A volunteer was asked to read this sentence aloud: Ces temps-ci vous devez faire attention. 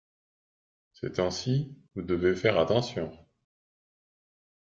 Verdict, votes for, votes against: accepted, 2, 0